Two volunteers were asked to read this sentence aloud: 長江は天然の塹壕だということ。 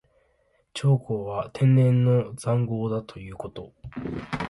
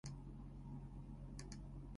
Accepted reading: first